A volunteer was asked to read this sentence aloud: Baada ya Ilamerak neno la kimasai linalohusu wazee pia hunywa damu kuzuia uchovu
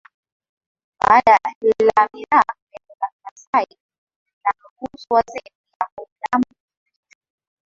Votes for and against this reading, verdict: 1, 11, rejected